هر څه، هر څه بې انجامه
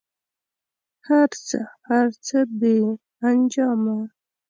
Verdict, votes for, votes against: rejected, 1, 2